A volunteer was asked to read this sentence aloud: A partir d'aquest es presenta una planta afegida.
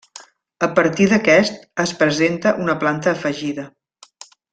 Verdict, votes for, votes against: accepted, 3, 0